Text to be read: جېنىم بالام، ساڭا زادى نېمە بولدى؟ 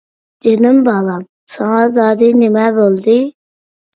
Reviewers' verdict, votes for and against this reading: accepted, 2, 0